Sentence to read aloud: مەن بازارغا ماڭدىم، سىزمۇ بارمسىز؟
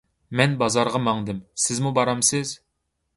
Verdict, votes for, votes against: accepted, 2, 0